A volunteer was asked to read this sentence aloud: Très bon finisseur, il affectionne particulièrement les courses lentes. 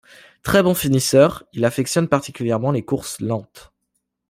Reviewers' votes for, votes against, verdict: 2, 0, accepted